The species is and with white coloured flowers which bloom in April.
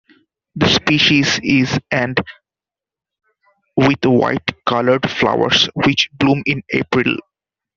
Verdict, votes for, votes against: accepted, 2, 0